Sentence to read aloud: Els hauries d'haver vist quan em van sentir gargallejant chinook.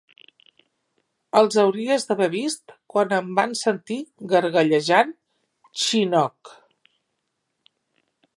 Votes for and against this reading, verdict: 2, 1, accepted